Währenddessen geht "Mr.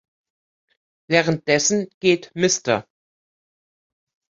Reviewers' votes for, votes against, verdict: 1, 2, rejected